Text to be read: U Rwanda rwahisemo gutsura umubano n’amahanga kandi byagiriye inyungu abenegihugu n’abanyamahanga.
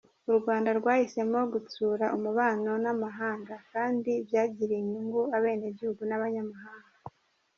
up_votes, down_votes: 0, 2